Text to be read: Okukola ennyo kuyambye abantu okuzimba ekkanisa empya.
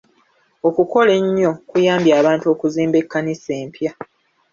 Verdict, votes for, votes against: rejected, 1, 2